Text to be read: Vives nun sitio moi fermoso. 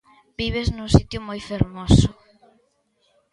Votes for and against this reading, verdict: 3, 0, accepted